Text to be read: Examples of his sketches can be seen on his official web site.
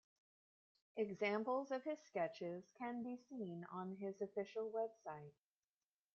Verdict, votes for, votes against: rejected, 1, 2